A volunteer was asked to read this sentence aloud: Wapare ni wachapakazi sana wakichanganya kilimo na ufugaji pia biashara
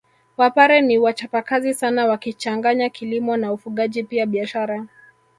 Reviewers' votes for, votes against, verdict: 4, 0, accepted